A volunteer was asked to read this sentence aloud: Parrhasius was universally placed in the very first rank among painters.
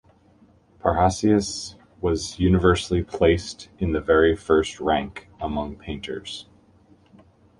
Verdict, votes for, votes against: accepted, 2, 1